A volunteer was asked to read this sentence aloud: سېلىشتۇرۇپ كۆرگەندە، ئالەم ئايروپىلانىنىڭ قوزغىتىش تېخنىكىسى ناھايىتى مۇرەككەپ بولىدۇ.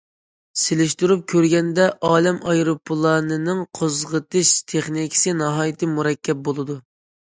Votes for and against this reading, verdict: 2, 0, accepted